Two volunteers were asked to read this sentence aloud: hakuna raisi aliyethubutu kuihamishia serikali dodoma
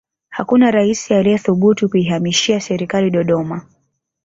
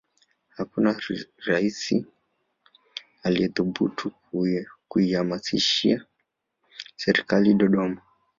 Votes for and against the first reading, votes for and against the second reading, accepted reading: 2, 1, 0, 2, first